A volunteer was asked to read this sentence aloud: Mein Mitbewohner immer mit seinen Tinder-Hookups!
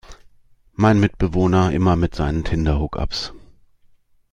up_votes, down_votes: 2, 0